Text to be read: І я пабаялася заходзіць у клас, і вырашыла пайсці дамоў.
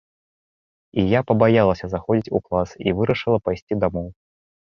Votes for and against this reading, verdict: 3, 0, accepted